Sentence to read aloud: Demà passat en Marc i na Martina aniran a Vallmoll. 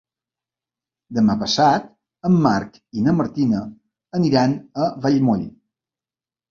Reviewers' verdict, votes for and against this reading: accepted, 3, 0